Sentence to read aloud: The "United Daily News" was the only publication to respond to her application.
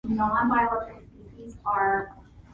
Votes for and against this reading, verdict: 0, 2, rejected